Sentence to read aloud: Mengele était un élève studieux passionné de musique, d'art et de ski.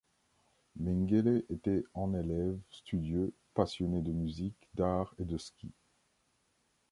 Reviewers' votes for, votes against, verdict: 1, 2, rejected